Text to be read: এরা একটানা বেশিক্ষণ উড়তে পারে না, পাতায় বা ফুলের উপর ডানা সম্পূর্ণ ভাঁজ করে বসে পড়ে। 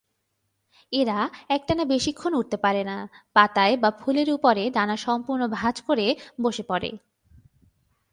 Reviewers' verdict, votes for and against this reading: rejected, 1, 2